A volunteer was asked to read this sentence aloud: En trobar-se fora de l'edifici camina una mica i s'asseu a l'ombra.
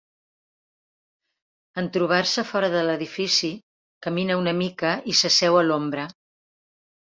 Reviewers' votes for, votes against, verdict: 3, 0, accepted